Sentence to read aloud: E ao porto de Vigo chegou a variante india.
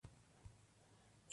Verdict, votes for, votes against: rejected, 0, 2